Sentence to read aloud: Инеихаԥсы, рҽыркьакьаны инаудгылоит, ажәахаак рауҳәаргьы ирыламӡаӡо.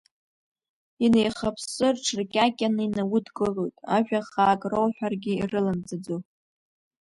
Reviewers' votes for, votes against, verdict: 2, 0, accepted